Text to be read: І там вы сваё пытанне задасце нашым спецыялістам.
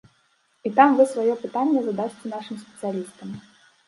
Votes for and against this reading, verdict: 1, 2, rejected